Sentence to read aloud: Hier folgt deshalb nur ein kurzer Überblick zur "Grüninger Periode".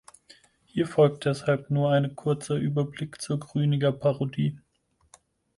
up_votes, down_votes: 0, 4